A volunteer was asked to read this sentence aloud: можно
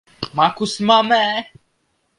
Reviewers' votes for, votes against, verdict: 0, 2, rejected